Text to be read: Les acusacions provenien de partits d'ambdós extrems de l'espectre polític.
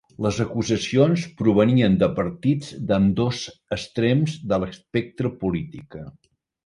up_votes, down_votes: 0, 3